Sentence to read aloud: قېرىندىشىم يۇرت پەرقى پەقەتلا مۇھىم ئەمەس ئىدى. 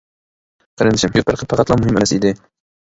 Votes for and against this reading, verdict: 1, 2, rejected